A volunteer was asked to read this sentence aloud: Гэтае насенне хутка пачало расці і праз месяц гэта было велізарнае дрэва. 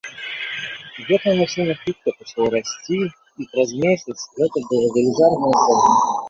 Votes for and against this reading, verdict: 0, 2, rejected